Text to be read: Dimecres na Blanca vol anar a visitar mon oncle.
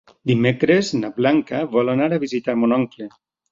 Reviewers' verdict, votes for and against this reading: accepted, 3, 0